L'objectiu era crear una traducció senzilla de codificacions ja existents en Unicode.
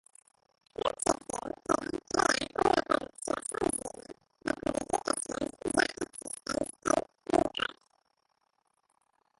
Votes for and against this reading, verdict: 1, 2, rejected